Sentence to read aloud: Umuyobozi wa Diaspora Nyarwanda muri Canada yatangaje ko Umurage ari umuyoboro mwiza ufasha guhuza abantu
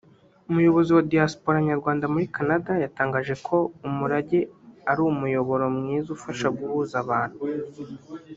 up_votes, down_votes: 1, 2